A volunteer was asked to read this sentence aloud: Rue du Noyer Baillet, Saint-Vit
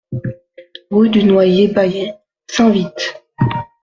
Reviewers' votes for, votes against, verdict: 2, 0, accepted